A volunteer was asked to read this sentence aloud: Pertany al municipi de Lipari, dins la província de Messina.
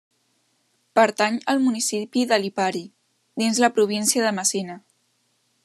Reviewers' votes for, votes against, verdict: 3, 0, accepted